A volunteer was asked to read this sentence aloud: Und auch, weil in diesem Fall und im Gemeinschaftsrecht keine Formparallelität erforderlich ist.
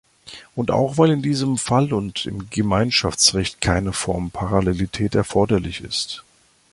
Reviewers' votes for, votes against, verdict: 2, 0, accepted